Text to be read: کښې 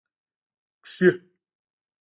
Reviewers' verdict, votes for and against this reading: rejected, 1, 2